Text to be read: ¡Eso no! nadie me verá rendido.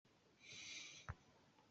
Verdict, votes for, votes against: rejected, 0, 2